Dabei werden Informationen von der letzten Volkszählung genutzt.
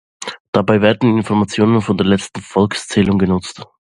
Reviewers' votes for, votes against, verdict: 2, 0, accepted